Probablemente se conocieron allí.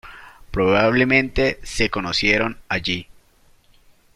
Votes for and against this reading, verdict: 0, 2, rejected